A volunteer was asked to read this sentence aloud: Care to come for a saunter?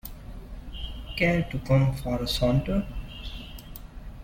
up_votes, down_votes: 2, 1